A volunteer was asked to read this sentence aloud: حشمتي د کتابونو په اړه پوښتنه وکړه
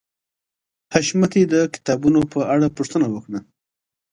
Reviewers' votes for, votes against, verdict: 2, 0, accepted